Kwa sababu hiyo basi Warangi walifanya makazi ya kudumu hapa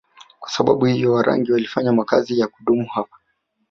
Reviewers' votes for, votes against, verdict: 1, 2, rejected